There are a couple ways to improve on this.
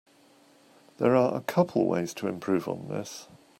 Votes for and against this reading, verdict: 2, 0, accepted